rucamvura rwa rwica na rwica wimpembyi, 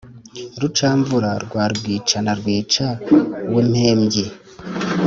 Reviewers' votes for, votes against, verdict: 2, 0, accepted